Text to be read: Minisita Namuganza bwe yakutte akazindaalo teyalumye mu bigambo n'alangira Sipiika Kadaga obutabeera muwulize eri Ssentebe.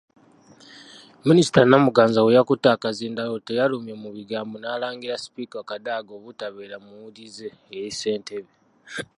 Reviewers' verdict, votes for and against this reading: accepted, 2, 0